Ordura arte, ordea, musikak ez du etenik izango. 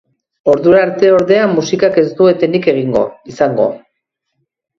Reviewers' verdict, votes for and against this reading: rejected, 0, 2